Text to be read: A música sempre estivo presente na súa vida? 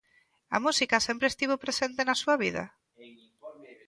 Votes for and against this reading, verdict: 2, 0, accepted